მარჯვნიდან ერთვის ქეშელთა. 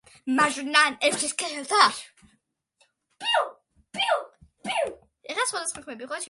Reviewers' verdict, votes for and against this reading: rejected, 0, 2